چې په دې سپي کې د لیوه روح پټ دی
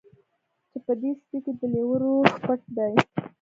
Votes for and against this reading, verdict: 0, 2, rejected